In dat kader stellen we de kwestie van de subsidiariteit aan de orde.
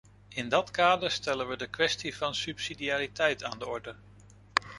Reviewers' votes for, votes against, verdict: 1, 2, rejected